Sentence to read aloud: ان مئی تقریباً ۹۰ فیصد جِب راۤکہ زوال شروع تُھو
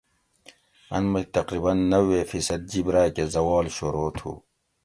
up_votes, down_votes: 0, 2